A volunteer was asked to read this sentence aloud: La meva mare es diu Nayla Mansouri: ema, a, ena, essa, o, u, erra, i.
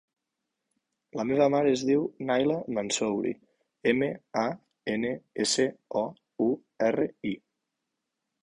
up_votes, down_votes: 1, 2